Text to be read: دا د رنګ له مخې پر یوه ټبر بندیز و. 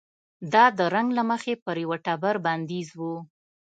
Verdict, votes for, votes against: accepted, 2, 0